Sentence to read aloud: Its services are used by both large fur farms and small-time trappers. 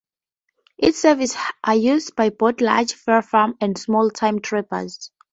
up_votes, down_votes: 0, 4